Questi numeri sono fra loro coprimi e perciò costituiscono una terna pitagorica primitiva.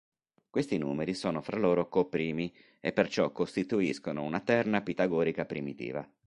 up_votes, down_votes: 4, 0